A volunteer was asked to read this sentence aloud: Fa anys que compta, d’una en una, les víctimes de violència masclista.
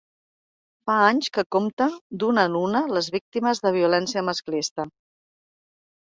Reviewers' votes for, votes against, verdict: 4, 0, accepted